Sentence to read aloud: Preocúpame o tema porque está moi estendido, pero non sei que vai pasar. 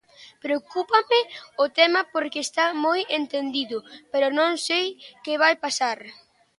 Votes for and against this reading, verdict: 0, 2, rejected